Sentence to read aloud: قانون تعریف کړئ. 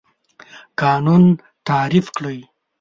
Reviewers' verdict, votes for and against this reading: accepted, 2, 0